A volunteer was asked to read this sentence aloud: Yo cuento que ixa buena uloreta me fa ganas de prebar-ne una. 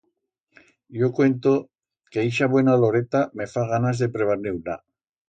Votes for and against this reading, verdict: 2, 0, accepted